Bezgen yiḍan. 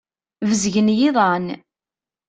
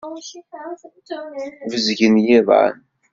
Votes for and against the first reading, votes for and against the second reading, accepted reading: 2, 0, 1, 2, first